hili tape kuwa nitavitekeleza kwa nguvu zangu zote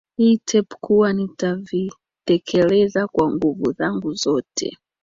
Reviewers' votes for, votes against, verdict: 0, 2, rejected